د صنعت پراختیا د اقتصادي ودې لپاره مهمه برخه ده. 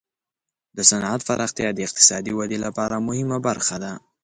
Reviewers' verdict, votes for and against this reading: accepted, 2, 0